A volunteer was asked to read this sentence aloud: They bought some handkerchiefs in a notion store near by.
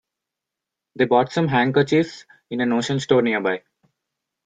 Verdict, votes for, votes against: accepted, 2, 0